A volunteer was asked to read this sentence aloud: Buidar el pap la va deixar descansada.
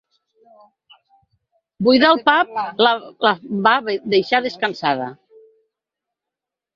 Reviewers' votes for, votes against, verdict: 0, 4, rejected